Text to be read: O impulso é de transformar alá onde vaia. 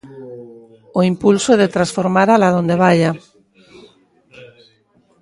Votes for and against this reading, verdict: 0, 2, rejected